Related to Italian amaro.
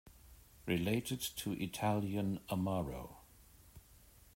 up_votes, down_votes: 2, 0